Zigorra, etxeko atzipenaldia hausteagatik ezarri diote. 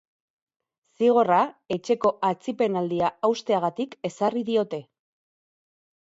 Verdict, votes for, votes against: rejected, 2, 2